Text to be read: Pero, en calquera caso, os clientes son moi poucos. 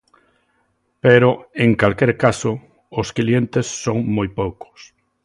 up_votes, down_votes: 0, 2